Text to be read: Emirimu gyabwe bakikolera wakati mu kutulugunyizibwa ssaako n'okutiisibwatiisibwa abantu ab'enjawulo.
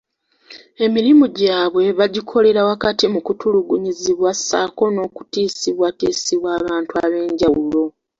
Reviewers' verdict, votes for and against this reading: accepted, 2, 0